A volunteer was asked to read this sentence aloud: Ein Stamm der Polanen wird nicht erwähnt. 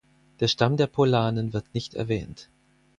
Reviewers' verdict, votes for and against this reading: rejected, 0, 4